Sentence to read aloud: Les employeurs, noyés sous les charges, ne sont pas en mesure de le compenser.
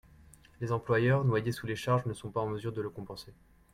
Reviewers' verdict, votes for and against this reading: accepted, 2, 1